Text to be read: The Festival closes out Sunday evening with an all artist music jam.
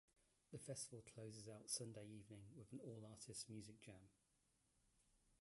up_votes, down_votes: 0, 2